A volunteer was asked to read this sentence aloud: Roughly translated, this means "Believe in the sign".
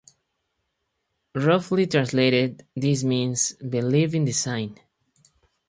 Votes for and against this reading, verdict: 4, 0, accepted